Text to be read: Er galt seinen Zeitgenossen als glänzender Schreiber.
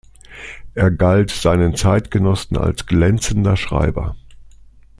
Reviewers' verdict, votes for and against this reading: accepted, 2, 0